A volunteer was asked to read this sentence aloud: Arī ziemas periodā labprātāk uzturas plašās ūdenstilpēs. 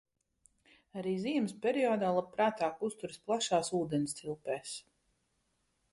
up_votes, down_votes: 2, 0